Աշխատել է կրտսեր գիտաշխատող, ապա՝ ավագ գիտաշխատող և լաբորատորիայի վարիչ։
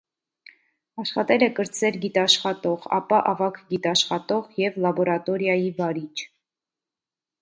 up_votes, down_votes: 2, 0